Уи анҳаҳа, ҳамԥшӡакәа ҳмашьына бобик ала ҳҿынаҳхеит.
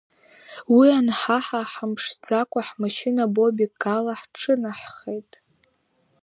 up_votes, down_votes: 0, 2